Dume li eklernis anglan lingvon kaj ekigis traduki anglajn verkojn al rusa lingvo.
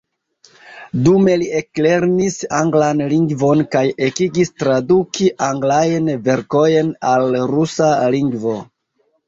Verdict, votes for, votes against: accepted, 2, 0